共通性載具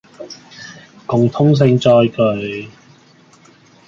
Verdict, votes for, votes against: rejected, 0, 2